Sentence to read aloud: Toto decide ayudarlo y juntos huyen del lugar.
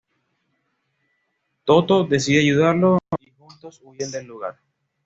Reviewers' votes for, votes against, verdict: 1, 2, rejected